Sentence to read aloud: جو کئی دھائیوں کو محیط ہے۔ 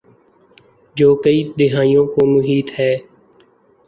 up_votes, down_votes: 3, 0